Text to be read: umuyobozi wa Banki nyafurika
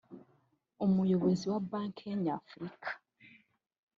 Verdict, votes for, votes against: accepted, 2, 1